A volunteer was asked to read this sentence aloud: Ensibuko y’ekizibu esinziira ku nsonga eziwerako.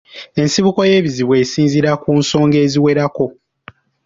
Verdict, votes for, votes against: accepted, 2, 0